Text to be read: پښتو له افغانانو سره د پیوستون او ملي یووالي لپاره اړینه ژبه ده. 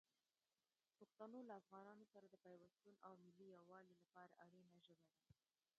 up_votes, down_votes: 0, 2